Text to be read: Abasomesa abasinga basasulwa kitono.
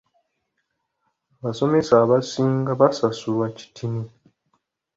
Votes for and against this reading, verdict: 0, 2, rejected